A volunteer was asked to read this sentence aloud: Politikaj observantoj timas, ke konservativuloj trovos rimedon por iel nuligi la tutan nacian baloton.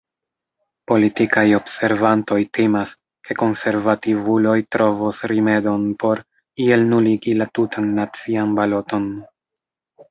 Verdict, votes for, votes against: rejected, 0, 2